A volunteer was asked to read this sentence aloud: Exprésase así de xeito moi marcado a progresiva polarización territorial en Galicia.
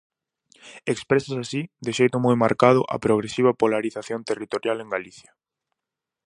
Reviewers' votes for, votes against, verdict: 2, 2, rejected